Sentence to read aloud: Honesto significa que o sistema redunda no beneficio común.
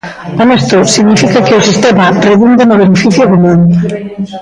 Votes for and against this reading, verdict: 1, 2, rejected